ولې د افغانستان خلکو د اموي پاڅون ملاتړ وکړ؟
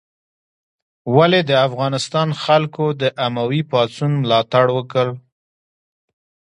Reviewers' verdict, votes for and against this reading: accepted, 2, 1